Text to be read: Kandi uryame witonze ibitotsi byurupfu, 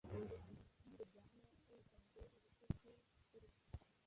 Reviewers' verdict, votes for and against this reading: rejected, 1, 2